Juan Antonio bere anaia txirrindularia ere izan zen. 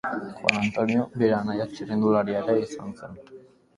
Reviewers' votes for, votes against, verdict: 0, 2, rejected